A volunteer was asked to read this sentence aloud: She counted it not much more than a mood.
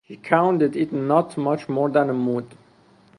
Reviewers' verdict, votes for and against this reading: accepted, 4, 0